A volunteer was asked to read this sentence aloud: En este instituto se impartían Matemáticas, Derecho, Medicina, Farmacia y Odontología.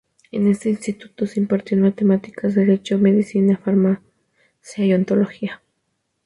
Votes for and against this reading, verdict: 2, 0, accepted